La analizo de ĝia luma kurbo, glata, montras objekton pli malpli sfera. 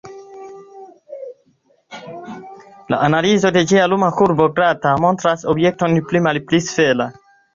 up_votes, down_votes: 2, 1